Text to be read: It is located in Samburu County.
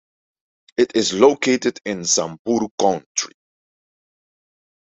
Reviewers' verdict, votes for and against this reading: rejected, 0, 2